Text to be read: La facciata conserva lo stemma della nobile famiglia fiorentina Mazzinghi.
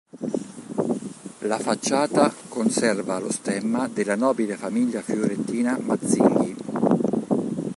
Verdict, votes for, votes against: rejected, 1, 2